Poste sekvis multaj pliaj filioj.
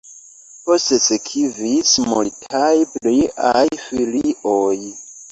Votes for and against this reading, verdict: 1, 2, rejected